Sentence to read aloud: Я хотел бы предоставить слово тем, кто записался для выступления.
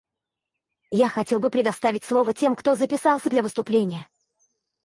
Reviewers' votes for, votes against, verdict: 2, 2, rejected